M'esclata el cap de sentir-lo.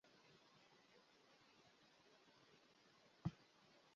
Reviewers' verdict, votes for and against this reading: rejected, 0, 2